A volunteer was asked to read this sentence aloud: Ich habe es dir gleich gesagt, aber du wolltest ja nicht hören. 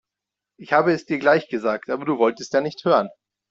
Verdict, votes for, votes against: accepted, 2, 0